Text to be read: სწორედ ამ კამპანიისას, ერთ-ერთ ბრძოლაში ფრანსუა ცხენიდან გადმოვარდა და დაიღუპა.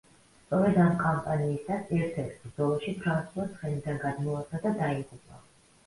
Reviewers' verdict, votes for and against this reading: accepted, 2, 1